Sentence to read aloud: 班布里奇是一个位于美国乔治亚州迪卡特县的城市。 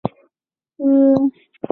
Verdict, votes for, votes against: rejected, 1, 5